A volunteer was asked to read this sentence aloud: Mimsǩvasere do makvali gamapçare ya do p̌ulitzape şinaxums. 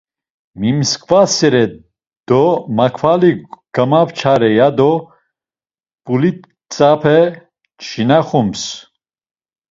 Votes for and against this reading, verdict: 1, 2, rejected